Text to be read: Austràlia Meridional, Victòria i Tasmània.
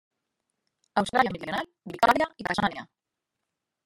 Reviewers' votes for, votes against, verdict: 0, 2, rejected